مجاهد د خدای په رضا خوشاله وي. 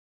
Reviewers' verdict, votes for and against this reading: rejected, 0, 2